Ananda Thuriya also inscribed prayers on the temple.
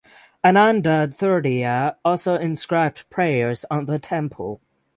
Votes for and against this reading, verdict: 0, 6, rejected